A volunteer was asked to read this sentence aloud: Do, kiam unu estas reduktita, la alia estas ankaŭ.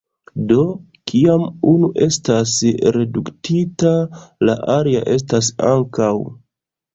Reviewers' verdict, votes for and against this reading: rejected, 1, 2